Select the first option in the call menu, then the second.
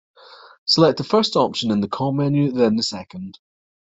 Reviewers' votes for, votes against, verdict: 2, 0, accepted